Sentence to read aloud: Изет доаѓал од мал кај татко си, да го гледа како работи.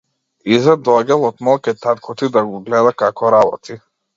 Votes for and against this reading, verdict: 0, 2, rejected